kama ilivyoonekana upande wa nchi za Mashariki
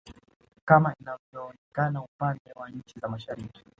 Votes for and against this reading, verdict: 1, 2, rejected